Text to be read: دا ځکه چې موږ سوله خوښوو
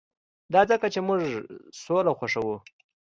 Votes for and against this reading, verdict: 2, 0, accepted